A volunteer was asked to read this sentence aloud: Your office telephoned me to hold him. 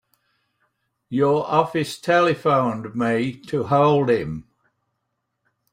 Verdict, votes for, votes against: accepted, 3, 0